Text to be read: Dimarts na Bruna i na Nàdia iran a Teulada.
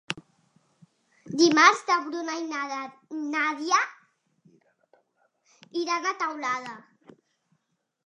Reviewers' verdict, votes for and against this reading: rejected, 1, 2